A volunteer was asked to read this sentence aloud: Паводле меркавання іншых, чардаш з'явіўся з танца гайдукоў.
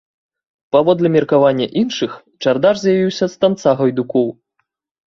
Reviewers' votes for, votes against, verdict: 1, 2, rejected